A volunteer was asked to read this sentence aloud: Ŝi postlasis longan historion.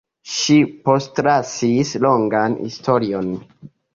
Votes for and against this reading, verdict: 1, 2, rejected